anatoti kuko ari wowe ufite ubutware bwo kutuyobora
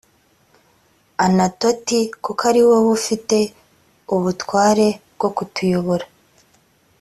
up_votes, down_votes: 2, 0